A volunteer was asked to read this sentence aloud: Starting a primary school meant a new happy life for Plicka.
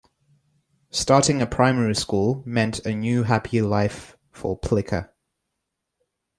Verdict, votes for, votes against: rejected, 1, 2